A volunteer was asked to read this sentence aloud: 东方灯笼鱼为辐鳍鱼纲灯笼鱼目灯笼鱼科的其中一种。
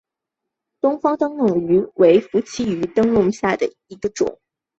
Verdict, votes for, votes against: accepted, 2, 1